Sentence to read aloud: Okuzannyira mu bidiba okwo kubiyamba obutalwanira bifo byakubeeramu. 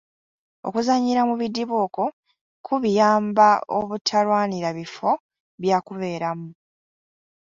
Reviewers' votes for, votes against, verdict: 2, 0, accepted